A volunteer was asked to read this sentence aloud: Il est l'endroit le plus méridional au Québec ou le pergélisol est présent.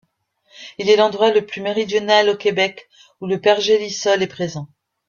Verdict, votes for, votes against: accepted, 2, 0